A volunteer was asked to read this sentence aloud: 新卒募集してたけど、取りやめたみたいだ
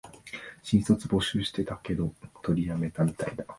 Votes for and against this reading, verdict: 2, 0, accepted